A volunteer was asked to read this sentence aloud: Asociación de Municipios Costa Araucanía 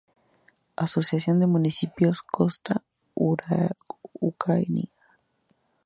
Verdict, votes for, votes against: rejected, 0, 2